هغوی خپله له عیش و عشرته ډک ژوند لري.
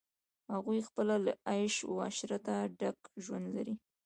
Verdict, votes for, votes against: rejected, 1, 2